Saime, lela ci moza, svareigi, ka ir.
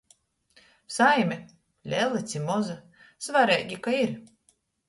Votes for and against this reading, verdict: 2, 0, accepted